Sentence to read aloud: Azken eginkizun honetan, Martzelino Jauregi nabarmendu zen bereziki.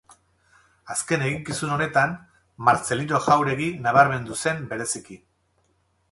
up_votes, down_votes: 6, 0